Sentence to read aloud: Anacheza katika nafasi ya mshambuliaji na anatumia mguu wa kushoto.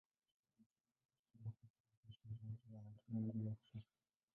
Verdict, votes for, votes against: rejected, 0, 2